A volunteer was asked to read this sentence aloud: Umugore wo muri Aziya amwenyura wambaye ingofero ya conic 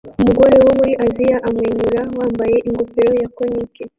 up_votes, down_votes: 0, 2